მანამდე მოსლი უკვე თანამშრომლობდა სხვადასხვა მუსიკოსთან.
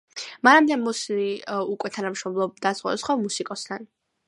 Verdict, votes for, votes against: accepted, 2, 0